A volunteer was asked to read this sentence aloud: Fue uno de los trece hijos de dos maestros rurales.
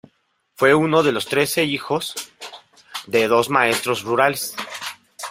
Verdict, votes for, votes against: rejected, 1, 2